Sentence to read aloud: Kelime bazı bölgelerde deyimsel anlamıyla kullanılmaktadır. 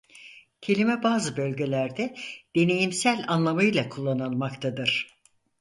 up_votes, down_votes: 0, 4